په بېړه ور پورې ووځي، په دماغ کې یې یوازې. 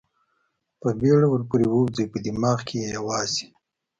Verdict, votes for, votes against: accepted, 2, 0